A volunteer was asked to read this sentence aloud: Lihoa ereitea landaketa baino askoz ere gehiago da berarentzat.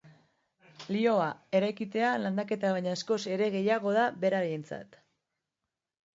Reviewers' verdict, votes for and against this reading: accepted, 2, 1